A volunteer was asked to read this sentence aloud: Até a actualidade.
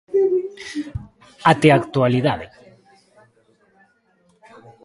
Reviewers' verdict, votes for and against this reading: rejected, 1, 2